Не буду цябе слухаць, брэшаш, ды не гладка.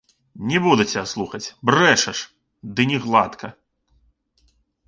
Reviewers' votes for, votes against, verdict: 1, 2, rejected